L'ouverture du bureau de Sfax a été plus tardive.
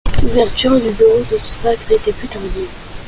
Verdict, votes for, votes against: accepted, 2, 0